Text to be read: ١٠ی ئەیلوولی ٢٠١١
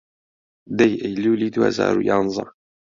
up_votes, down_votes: 0, 2